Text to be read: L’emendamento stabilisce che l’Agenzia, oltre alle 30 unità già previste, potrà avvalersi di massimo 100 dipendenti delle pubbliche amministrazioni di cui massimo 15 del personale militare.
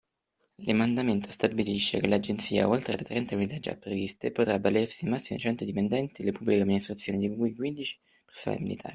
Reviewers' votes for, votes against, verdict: 0, 2, rejected